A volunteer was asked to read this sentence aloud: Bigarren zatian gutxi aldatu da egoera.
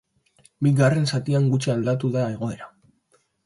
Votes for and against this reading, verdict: 3, 0, accepted